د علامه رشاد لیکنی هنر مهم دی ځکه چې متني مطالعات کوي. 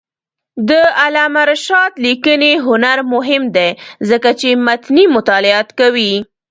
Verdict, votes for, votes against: rejected, 1, 2